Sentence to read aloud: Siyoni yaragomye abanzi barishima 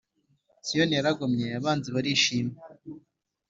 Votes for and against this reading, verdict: 3, 0, accepted